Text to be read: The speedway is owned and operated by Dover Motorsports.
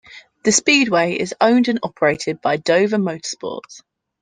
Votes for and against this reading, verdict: 2, 0, accepted